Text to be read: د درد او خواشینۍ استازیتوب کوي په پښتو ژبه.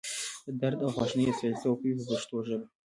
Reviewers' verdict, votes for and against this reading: accepted, 2, 0